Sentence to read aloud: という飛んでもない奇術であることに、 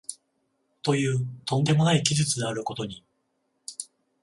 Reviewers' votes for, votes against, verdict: 14, 0, accepted